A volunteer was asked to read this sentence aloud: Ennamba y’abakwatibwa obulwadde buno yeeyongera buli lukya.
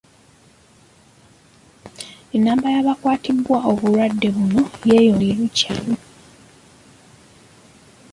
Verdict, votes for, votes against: rejected, 1, 2